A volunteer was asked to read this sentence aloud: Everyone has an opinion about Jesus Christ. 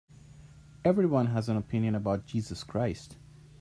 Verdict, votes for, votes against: accepted, 2, 0